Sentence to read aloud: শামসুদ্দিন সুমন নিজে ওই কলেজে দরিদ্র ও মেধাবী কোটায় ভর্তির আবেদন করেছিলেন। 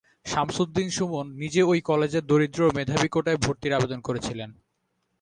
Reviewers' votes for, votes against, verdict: 2, 0, accepted